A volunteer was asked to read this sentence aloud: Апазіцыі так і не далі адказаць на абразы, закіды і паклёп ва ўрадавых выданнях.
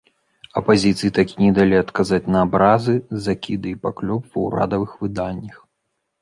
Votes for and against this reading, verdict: 1, 2, rejected